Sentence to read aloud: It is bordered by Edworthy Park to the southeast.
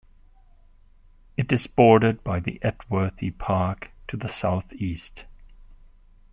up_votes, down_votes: 1, 2